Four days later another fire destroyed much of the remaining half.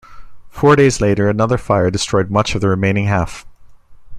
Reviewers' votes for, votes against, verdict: 2, 0, accepted